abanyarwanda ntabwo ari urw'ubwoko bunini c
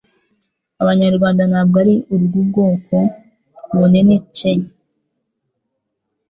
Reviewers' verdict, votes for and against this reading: accepted, 2, 0